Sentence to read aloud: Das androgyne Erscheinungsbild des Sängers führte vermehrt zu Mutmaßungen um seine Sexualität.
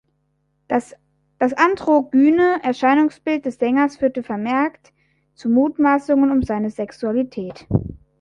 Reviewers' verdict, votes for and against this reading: rejected, 0, 3